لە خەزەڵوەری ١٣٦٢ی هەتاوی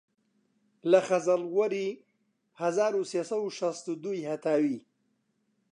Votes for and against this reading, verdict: 0, 2, rejected